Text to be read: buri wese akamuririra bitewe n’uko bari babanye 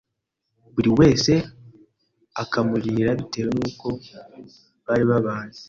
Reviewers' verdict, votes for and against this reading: accepted, 2, 0